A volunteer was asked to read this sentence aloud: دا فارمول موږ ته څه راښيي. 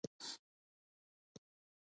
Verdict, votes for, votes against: rejected, 0, 2